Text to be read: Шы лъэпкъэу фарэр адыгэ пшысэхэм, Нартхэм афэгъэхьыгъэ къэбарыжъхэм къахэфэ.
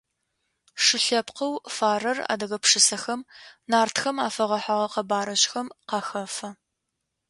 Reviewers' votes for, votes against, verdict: 2, 0, accepted